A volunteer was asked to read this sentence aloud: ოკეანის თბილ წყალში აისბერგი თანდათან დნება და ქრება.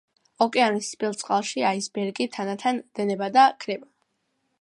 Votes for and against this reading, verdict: 2, 0, accepted